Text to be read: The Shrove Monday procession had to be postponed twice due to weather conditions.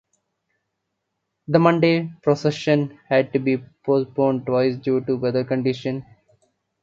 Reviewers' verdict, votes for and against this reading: rejected, 1, 2